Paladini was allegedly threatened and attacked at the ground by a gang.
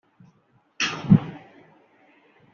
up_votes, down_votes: 0, 2